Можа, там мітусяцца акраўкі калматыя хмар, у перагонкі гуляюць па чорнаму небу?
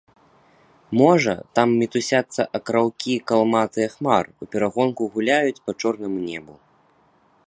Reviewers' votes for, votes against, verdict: 1, 2, rejected